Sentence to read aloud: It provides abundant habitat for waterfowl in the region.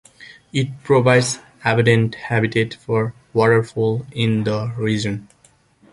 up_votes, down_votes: 2, 1